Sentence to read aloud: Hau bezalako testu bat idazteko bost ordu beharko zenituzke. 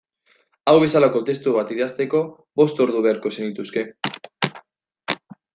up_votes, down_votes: 2, 0